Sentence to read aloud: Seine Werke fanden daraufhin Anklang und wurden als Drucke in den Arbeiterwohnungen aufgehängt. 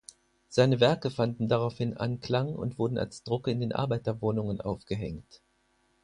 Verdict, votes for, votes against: accepted, 4, 0